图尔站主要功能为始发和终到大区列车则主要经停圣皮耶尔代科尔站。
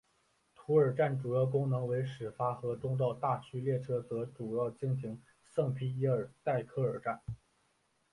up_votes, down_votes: 2, 0